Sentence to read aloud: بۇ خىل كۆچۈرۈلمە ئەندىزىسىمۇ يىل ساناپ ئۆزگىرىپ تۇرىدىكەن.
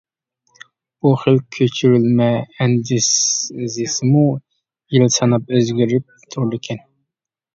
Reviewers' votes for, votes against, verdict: 1, 2, rejected